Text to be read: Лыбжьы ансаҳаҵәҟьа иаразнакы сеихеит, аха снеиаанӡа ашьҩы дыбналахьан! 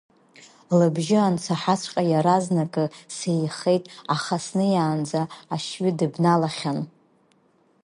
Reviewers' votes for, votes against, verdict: 3, 0, accepted